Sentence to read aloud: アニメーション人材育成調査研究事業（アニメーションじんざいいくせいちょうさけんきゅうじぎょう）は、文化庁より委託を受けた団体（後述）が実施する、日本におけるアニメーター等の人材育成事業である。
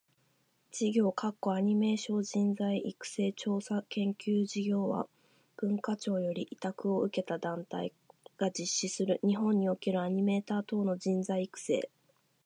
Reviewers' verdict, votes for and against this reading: rejected, 0, 2